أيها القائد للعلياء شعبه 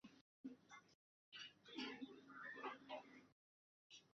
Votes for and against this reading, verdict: 0, 2, rejected